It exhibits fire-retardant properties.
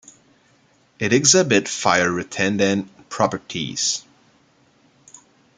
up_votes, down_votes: 0, 2